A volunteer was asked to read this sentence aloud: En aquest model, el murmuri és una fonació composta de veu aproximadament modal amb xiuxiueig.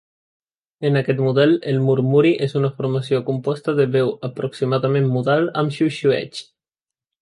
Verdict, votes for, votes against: rejected, 0, 2